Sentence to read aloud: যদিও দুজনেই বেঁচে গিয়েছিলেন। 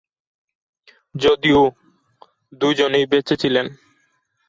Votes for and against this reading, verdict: 1, 3, rejected